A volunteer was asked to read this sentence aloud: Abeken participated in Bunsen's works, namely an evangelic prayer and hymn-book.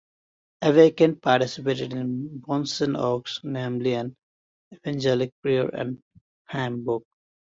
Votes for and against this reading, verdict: 0, 2, rejected